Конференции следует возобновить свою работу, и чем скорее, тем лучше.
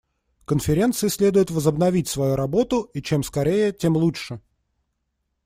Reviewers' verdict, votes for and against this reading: accepted, 2, 0